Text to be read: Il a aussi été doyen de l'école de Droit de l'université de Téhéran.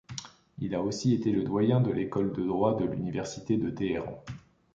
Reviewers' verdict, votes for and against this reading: rejected, 1, 2